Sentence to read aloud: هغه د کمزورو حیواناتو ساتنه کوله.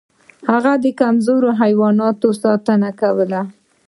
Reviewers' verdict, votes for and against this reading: rejected, 0, 2